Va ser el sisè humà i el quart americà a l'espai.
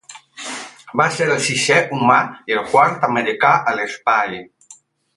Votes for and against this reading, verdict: 4, 8, rejected